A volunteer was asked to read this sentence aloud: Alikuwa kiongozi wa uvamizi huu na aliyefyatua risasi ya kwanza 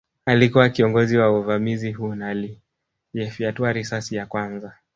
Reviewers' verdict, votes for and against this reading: rejected, 2, 3